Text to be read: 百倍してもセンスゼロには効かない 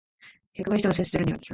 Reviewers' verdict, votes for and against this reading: rejected, 1, 2